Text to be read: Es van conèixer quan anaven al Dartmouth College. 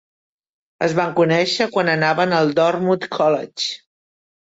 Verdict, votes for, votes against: rejected, 1, 2